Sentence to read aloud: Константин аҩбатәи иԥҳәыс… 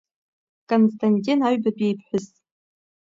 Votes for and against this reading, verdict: 1, 2, rejected